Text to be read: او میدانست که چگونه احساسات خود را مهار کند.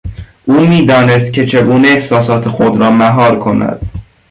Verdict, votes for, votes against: accepted, 2, 0